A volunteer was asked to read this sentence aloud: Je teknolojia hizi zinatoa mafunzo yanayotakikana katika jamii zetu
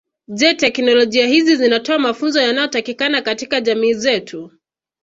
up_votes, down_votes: 2, 0